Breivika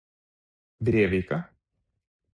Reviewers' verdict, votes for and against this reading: rejected, 0, 4